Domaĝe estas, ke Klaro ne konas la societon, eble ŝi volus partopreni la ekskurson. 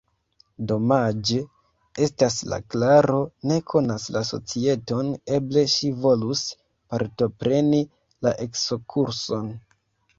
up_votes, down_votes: 1, 2